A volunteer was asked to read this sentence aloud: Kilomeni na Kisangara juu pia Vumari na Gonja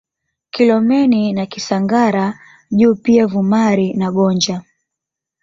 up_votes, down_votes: 1, 2